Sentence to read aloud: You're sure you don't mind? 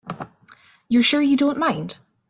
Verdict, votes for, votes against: accepted, 2, 0